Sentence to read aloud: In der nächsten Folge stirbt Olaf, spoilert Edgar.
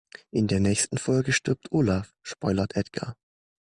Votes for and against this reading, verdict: 2, 0, accepted